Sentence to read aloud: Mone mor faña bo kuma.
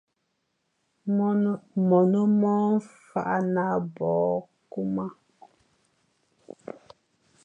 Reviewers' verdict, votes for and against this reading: rejected, 0, 3